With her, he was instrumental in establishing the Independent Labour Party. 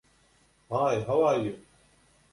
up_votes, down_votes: 0, 2